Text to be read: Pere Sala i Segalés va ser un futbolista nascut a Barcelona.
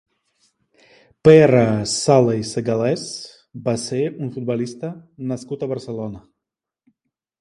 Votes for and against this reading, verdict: 3, 0, accepted